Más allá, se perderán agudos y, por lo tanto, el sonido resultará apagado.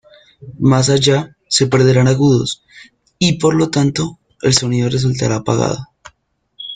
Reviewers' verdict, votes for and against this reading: rejected, 1, 2